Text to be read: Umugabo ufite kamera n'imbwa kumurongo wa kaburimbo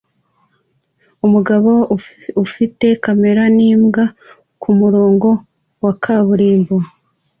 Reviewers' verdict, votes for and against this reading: accepted, 2, 0